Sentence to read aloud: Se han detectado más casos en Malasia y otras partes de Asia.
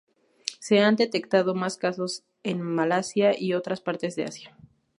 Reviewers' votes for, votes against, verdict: 2, 0, accepted